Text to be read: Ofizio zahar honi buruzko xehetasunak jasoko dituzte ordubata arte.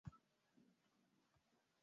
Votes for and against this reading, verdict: 0, 2, rejected